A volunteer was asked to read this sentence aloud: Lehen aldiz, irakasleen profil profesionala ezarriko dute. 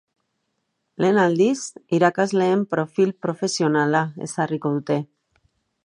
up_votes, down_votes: 2, 0